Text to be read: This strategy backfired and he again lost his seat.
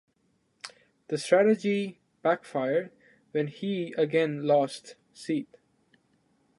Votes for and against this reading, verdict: 0, 2, rejected